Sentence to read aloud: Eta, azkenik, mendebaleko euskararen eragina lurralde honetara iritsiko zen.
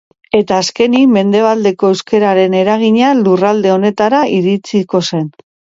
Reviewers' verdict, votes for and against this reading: accepted, 2, 0